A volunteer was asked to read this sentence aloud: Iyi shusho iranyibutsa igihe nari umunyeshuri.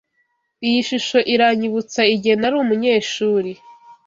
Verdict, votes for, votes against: accepted, 2, 0